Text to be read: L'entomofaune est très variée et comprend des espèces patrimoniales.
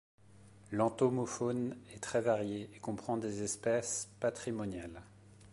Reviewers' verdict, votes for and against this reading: accepted, 2, 0